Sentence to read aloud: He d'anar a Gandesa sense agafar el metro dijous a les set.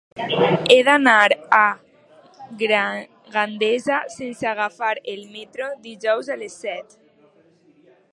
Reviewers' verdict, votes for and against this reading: rejected, 0, 2